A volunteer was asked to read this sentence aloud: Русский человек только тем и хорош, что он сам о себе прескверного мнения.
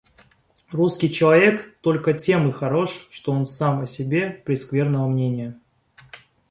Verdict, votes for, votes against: accepted, 2, 0